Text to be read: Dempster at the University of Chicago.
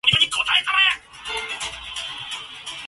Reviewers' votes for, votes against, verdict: 0, 2, rejected